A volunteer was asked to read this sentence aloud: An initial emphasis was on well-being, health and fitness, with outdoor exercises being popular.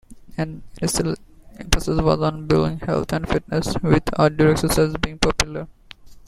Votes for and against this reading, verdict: 2, 1, accepted